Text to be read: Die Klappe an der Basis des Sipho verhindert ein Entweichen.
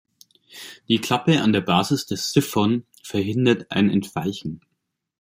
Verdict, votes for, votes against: rejected, 1, 2